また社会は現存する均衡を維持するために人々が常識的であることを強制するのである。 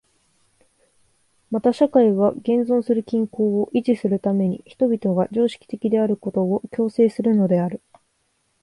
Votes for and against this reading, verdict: 2, 0, accepted